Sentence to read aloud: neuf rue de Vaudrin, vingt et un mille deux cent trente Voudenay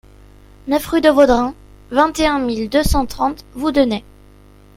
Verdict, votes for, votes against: accepted, 2, 0